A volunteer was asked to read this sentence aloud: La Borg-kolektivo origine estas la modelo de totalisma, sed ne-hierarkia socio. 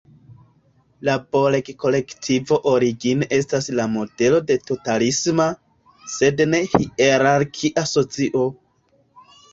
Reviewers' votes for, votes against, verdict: 1, 2, rejected